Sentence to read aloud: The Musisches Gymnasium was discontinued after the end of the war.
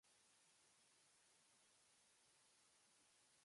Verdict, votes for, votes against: rejected, 0, 2